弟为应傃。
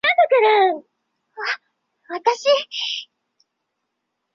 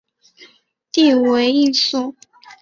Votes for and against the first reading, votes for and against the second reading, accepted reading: 0, 2, 6, 1, second